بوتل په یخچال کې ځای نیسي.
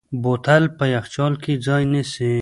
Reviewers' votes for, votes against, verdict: 0, 2, rejected